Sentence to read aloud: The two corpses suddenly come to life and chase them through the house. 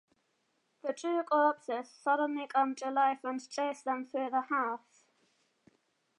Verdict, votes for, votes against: accepted, 2, 0